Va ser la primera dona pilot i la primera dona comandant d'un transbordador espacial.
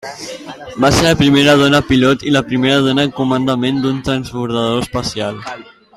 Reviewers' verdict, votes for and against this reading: rejected, 0, 2